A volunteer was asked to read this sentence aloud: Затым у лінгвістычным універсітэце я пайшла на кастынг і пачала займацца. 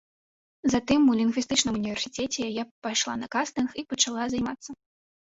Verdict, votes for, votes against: rejected, 1, 2